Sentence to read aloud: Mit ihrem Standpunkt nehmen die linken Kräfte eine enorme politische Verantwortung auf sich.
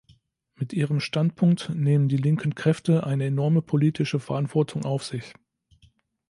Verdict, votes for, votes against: accepted, 3, 0